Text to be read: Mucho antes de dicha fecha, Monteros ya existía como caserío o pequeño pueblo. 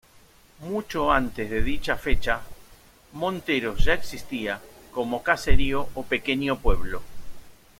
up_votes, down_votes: 2, 0